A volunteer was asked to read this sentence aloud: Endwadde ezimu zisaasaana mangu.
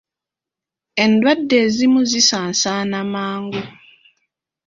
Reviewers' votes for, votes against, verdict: 2, 1, accepted